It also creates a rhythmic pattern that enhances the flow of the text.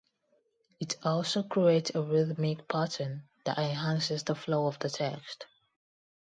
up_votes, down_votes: 2, 0